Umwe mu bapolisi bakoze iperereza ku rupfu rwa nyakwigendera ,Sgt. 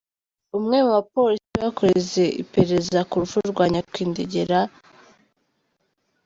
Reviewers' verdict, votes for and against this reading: rejected, 0, 2